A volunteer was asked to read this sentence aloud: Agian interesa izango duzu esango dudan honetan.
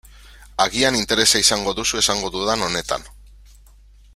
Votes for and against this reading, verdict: 3, 0, accepted